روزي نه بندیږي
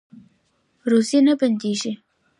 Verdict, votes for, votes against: accepted, 2, 0